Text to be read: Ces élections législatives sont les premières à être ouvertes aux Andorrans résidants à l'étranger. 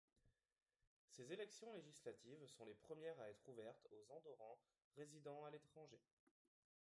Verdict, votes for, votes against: accepted, 2, 1